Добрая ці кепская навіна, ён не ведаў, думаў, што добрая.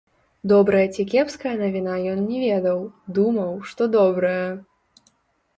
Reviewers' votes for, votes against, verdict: 1, 2, rejected